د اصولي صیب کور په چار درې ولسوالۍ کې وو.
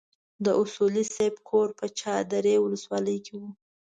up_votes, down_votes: 2, 0